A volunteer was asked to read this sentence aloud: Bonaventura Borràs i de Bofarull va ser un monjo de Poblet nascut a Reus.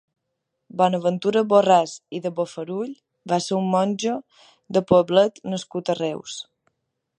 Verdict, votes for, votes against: accepted, 2, 0